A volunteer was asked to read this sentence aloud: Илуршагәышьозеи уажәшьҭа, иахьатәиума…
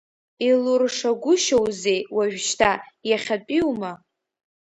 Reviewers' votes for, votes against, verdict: 0, 2, rejected